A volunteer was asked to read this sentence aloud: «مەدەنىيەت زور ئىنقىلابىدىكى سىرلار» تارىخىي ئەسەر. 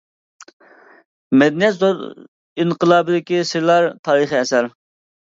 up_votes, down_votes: 0, 2